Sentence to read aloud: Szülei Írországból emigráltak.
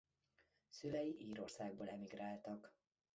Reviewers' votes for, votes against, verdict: 2, 0, accepted